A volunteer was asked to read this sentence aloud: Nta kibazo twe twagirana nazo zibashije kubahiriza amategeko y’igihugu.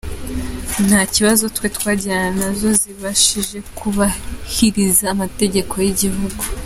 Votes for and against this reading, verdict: 2, 0, accepted